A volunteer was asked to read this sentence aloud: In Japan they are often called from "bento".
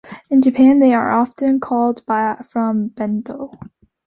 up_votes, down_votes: 0, 2